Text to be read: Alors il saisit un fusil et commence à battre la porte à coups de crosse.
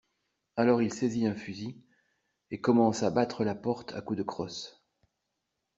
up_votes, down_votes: 2, 0